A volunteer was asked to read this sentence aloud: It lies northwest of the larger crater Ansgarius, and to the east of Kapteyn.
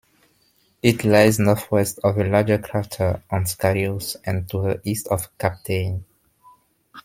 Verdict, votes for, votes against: rejected, 1, 2